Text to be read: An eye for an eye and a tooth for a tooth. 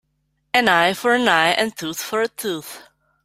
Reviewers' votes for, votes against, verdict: 1, 2, rejected